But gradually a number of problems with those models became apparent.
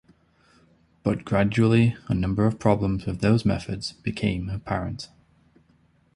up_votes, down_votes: 1, 2